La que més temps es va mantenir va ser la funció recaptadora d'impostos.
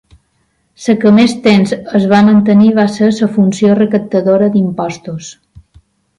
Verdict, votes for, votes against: rejected, 2, 3